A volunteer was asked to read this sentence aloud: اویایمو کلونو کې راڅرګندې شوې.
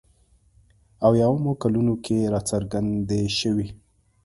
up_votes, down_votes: 2, 0